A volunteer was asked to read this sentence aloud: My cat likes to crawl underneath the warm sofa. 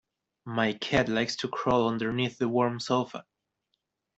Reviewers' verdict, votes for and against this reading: accepted, 2, 1